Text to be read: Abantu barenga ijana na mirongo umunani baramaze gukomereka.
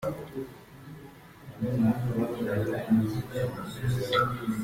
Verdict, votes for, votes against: rejected, 0, 2